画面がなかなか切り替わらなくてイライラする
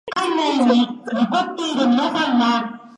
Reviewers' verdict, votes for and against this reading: rejected, 0, 2